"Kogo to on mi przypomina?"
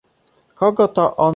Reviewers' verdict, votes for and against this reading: rejected, 0, 2